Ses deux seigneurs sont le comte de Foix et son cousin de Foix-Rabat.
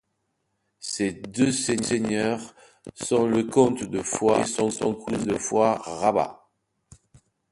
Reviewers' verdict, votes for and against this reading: rejected, 1, 2